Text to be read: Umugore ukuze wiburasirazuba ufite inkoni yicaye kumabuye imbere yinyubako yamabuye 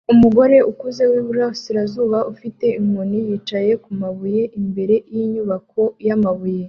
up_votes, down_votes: 2, 0